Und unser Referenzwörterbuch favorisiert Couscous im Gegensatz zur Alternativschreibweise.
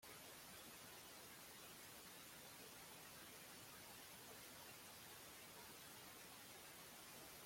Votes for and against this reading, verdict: 0, 2, rejected